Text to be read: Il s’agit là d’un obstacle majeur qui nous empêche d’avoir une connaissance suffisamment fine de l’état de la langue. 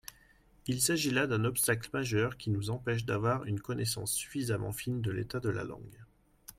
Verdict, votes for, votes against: accepted, 2, 0